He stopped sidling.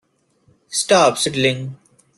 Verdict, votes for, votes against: rejected, 0, 2